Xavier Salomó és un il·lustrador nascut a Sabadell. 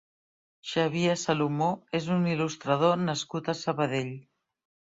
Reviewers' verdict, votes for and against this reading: accepted, 3, 0